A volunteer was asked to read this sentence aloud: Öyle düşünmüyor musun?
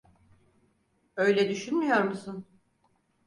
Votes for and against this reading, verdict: 6, 0, accepted